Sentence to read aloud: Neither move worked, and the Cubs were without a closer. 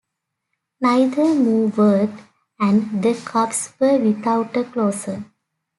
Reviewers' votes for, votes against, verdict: 2, 0, accepted